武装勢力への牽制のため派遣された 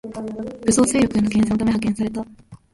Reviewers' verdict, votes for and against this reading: rejected, 0, 2